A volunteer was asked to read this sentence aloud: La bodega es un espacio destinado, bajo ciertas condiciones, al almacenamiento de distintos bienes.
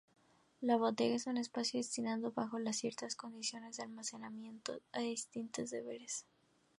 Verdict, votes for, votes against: rejected, 0, 2